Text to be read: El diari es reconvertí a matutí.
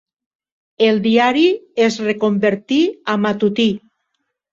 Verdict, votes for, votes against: accepted, 3, 0